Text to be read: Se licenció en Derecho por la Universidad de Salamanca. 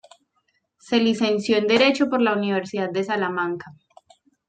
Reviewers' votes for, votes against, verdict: 2, 0, accepted